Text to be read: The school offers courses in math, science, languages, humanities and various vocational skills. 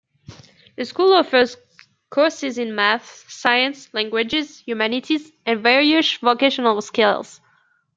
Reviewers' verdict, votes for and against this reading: accepted, 2, 1